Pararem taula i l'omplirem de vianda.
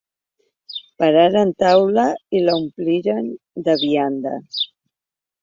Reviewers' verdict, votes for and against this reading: accepted, 2, 0